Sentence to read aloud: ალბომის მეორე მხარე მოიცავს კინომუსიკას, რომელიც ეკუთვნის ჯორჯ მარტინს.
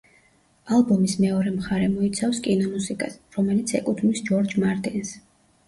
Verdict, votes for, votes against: accepted, 2, 0